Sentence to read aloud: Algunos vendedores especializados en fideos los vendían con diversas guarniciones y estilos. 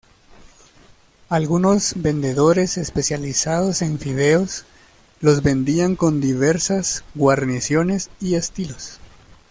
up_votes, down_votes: 2, 0